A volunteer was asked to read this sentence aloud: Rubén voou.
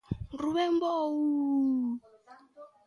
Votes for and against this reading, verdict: 0, 2, rejected